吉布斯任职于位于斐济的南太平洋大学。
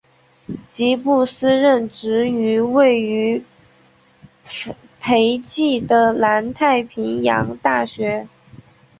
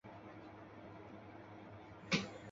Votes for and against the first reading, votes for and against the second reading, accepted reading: 5, 0, 0, 2, first